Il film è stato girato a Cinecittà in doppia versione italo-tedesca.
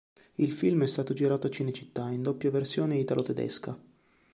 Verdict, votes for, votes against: accepted, 2, 0